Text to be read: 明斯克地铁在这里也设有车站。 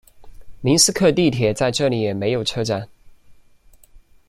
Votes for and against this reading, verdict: 0, 2, rejected